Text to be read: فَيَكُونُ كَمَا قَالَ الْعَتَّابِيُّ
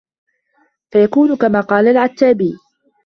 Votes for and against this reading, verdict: 2, 0, accepted